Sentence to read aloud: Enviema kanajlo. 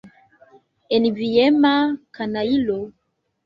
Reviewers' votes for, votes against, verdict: 1, 2, rejected